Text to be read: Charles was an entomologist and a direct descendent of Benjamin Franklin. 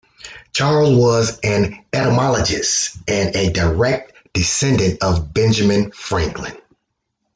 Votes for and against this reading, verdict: 2, 0, accepted